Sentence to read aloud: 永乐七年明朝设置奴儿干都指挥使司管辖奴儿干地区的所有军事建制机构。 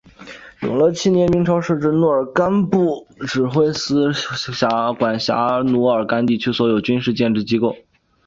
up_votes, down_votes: 0, 2